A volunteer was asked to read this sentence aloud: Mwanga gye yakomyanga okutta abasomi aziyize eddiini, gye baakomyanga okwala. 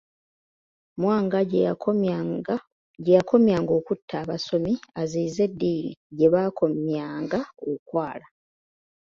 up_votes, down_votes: 0, 2